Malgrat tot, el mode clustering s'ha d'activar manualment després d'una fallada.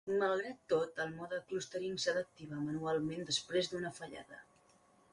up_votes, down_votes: 1, 2